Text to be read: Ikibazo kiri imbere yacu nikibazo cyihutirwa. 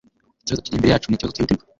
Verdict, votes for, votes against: accepted, 2, 0